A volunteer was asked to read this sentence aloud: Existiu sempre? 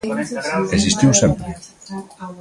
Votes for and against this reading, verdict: 0, 2, rejected